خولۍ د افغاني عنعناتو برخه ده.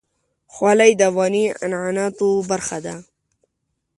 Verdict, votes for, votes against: accepted, 2, 0